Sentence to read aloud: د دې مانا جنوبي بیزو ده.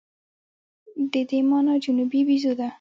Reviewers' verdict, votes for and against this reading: accepted, 2, 0